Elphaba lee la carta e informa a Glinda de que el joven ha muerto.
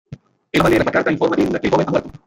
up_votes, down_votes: 0, 2